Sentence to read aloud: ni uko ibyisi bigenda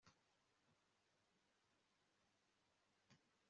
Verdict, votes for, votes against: rejected, 1, 2